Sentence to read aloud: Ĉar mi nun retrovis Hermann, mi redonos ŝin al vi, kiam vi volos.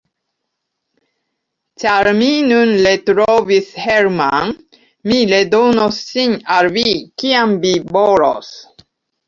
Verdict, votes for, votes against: rejected, 1, 2